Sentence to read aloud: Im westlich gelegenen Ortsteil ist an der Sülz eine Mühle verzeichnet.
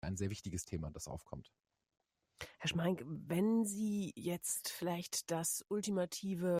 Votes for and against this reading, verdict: 0, 2, rejected